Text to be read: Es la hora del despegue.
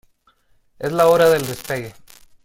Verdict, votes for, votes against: rejected, 1, 2